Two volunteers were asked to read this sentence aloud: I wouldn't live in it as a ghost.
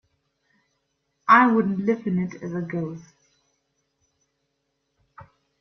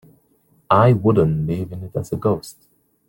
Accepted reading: first